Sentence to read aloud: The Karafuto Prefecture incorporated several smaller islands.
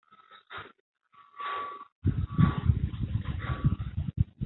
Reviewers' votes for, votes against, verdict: 0, 2, rejected